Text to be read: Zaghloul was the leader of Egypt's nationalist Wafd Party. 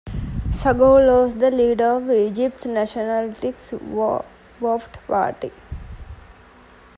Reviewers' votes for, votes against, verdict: 0, 2, rejected